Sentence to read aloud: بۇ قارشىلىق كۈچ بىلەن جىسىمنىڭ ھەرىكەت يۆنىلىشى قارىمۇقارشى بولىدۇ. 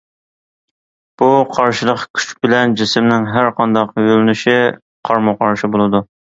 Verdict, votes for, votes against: rejected, 0, 2